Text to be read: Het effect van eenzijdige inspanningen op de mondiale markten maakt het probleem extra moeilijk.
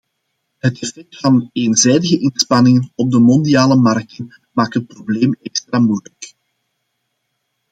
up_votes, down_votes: 2, 0